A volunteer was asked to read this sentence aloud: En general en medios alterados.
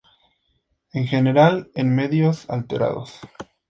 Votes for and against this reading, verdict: 4, 0, accepted